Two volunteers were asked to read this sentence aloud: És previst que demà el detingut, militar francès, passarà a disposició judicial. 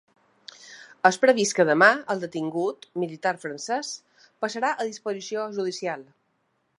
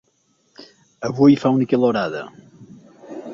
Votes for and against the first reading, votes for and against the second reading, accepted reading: 2, 0, 1, 2, first